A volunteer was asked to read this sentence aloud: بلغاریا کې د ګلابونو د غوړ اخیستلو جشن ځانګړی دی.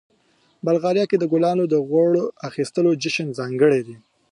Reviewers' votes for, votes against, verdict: 0, 2, rejected